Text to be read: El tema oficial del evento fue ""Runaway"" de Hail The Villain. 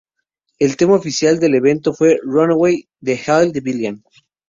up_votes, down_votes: 2, 0